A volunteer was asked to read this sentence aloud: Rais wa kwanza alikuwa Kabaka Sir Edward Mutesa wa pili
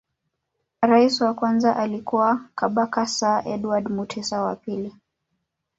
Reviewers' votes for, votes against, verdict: 1, 2, rejected